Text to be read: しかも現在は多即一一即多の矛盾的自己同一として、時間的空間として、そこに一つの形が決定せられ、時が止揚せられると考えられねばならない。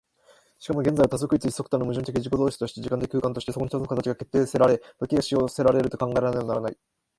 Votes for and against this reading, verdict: 3, 2, accepted